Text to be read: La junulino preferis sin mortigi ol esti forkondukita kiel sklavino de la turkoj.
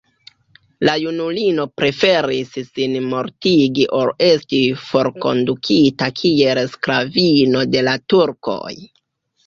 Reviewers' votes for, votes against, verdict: 2, 0, accepted